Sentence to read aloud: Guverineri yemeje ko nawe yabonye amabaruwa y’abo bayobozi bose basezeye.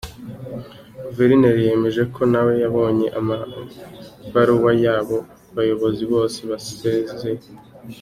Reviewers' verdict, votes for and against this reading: accepted, 2, 1